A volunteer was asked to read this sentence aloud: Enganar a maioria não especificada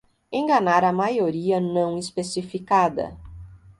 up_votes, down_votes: 2, 0